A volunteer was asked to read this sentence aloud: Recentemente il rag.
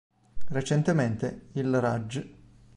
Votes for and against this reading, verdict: 0, 2, rejected